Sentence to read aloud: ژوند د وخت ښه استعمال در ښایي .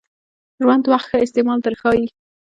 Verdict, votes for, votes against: accepted, 2, 0